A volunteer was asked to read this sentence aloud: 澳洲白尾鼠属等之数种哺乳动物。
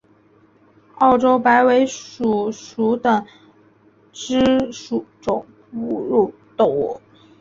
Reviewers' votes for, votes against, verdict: 3, 0, accepted